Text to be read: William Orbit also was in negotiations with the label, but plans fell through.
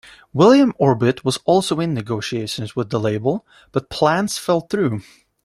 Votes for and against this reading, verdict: 0, 2, rejected